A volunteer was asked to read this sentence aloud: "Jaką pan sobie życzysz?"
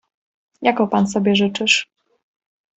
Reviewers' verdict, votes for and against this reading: accepted, 2, 0